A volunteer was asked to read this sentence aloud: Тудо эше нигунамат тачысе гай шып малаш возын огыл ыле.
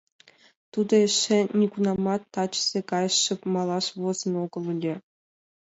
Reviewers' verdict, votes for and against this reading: accepted, 2, 0